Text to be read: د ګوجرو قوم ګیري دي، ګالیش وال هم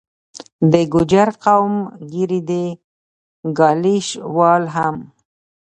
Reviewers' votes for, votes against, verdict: 1, 2, rejected